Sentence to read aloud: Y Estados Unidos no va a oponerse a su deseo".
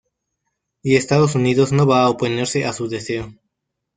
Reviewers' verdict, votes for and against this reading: accepted, 2, 1